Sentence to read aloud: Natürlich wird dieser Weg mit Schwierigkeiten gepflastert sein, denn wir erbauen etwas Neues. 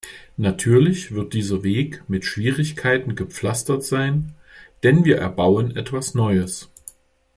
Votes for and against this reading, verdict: 2, 0, accepted